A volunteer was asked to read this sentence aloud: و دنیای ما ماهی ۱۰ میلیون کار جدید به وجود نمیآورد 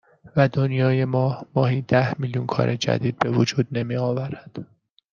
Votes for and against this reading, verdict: 0, 2, rejected